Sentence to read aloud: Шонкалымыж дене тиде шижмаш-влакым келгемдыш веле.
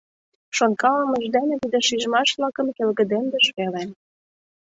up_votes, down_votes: 0, 2